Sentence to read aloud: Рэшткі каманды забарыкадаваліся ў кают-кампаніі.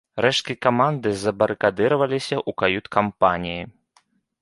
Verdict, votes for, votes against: rejected, 0, 2